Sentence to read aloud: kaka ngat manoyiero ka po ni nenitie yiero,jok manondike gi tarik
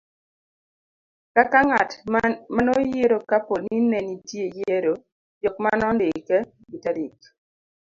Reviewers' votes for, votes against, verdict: 2, 0, accepted